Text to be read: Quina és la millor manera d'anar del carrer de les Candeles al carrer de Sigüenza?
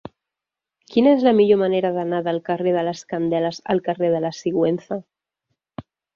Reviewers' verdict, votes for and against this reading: rejected, 1, 2